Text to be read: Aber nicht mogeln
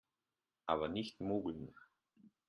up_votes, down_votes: 2, 0